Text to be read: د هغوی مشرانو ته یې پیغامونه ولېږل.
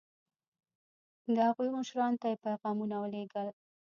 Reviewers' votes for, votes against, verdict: 1, 2, rejected